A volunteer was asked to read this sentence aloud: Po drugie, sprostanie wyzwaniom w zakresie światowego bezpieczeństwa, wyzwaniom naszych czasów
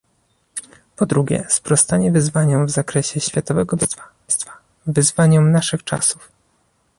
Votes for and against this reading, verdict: 0, 2, rejected